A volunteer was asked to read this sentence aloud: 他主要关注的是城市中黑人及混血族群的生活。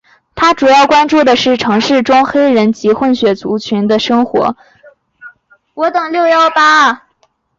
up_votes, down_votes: 1, 2